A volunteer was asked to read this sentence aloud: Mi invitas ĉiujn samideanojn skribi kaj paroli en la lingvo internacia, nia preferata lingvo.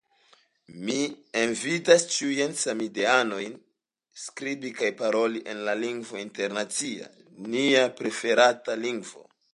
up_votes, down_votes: 2, 0